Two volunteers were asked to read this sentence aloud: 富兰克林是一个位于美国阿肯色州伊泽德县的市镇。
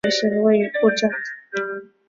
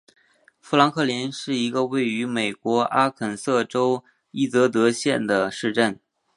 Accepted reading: second